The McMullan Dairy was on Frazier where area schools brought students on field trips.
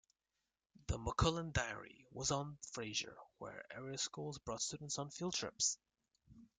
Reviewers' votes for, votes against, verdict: 1, 2, rejected